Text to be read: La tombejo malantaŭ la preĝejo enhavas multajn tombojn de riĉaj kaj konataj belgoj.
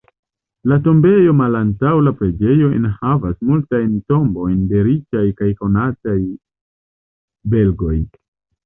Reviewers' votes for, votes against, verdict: 0, 2, rejected